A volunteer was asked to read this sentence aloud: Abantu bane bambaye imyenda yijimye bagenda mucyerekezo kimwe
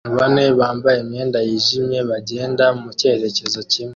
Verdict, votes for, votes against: rejected, 1, 2